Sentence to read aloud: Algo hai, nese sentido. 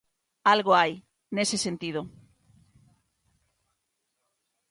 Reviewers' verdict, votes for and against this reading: accepted, 2, 0